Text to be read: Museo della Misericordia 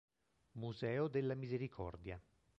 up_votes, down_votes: 2, 0